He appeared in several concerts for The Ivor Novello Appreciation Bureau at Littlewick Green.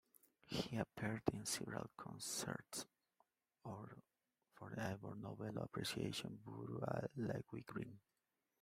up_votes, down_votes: 2, 0